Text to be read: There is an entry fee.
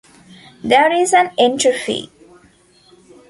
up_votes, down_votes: 2, 0